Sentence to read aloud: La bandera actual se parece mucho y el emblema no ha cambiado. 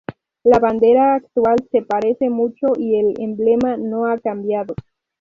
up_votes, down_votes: 2, 0